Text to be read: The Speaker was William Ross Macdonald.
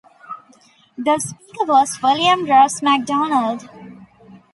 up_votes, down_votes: 1, 2